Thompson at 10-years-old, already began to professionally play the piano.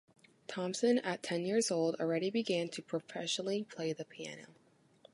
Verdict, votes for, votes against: rejected, 0, 2